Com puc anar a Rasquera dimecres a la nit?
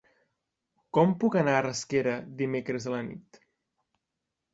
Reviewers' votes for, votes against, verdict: 3, 0, accepted